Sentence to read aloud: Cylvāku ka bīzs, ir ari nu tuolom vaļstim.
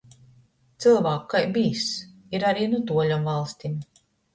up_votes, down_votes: 0, 2